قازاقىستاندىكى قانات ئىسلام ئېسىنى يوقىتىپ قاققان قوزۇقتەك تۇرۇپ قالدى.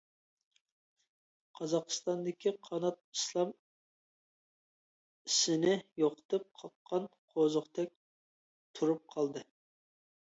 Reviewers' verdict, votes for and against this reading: rejected, 0, 2